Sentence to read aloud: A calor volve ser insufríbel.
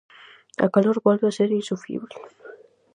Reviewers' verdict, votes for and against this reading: rejected, 2, 2